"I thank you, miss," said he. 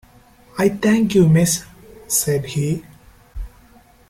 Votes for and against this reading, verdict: 3, 0, accepted